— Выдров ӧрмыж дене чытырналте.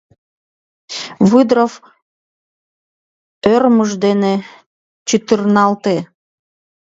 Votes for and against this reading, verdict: 1, 2, rejected